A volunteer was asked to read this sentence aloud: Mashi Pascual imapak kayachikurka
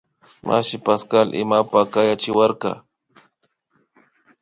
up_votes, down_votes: 1, 2